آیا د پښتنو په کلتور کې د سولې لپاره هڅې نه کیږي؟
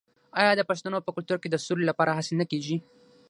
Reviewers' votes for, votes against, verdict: 6, 3, accepted